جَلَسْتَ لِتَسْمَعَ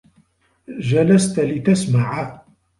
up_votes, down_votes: 1, 2